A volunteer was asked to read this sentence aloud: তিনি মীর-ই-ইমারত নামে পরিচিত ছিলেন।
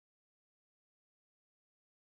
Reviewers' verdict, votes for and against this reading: rejected, 0, 4